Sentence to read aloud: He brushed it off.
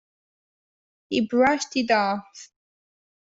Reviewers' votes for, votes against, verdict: 2, 0, accepted